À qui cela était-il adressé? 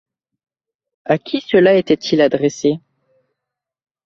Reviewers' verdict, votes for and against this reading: accepted, 2, 0